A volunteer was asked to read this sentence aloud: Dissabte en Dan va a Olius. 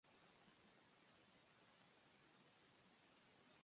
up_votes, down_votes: 0, 2